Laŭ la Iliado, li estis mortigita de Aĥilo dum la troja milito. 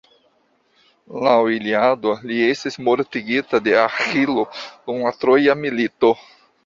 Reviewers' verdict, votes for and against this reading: accepted, 2, 0